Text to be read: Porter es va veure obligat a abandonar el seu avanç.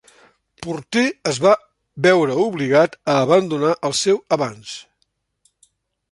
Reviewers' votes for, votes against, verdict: 2, 0, accepted